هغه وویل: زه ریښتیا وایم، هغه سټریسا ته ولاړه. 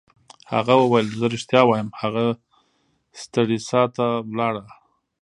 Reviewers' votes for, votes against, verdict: 1, 2, rejected